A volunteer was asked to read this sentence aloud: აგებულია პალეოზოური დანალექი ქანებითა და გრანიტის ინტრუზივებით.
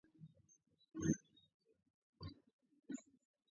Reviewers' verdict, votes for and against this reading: rejected, 0, 2